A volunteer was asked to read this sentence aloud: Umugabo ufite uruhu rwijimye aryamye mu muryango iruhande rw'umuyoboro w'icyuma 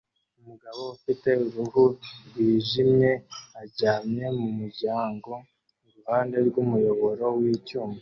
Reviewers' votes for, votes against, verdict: 0, 2, rejected